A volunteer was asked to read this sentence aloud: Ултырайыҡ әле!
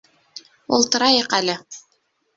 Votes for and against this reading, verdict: 2, 0, accepted